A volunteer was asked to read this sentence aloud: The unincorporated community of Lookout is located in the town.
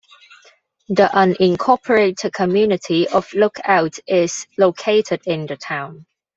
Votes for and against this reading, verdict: 2, 0, accepted